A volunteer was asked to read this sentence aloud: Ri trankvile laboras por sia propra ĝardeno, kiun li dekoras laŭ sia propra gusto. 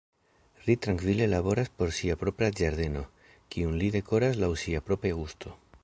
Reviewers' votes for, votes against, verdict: 2, 0, accepted